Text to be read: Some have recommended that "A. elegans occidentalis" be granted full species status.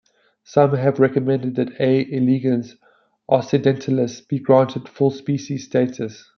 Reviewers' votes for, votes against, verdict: 2, 1, accepted